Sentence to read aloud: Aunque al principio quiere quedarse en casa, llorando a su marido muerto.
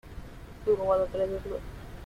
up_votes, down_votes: 0, 2